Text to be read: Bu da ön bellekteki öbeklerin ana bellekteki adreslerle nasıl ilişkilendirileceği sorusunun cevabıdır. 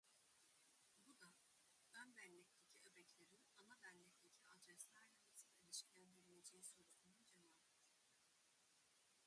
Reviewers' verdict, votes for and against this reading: rejected, 0, 2